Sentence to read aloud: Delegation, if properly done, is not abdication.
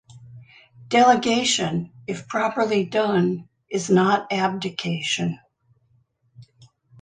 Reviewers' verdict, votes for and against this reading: accepted, 2, 0